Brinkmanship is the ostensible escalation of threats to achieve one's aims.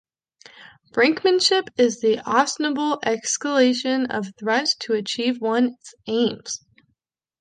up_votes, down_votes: 0, 2